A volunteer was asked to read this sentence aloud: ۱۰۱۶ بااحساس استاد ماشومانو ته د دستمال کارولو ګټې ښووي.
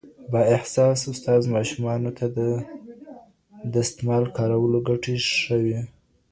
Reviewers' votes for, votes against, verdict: 0, 2, rejected